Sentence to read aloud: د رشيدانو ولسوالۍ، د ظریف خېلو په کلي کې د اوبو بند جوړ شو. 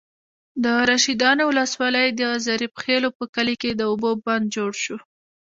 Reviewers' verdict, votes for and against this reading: accepted, 2, 0